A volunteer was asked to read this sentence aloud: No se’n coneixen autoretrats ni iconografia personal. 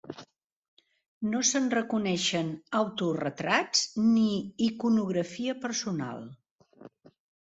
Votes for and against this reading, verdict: 0, 2, rejected